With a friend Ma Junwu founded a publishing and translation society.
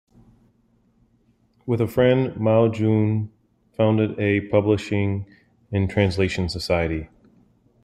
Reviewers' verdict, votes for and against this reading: rejected, 1, 2